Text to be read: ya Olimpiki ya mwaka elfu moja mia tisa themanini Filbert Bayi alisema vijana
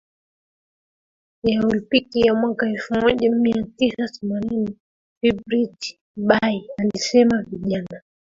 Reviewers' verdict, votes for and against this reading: rejected, 1, 2